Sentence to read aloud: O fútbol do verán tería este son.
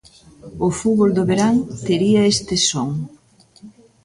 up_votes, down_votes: 2, 0